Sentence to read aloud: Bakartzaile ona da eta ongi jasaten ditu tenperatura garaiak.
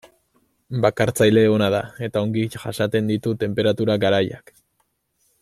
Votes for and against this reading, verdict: 2, 0, accepted